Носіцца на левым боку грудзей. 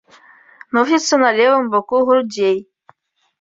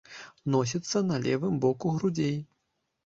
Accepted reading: second